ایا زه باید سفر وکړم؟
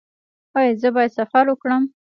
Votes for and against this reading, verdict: 1, 2, rejected